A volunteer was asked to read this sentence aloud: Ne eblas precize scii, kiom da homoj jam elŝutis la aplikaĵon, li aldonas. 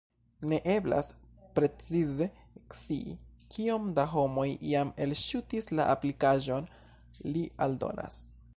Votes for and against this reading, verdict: 1, 2, rejected